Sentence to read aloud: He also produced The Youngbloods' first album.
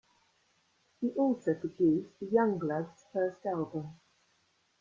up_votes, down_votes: 2, 1